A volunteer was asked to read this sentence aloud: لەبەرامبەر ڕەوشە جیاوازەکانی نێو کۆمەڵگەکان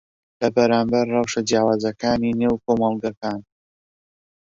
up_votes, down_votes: 12, 1